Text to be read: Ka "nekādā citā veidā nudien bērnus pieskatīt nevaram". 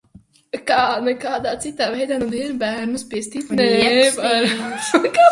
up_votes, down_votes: 0, 2